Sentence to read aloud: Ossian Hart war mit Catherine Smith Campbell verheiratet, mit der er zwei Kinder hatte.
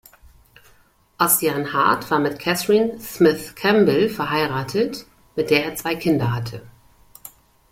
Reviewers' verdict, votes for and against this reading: accepted, 2, 0